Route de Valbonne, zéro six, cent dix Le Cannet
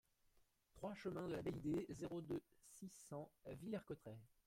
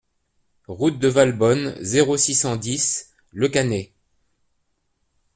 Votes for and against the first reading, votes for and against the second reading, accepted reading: 0, 2, 2, 0, second